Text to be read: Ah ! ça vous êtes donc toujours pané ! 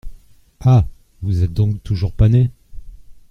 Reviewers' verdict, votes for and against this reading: rejected, 0, 2